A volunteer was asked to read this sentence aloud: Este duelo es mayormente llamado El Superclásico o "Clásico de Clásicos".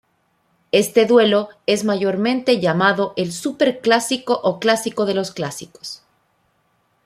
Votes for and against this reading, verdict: 1, 2, rejected